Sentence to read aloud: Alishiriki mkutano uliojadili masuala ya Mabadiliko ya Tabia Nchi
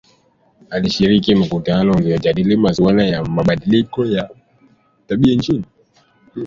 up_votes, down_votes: 1, 2